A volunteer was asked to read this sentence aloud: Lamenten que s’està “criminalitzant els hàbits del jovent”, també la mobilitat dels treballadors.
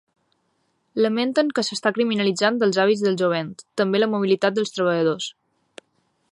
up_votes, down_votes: 1, 2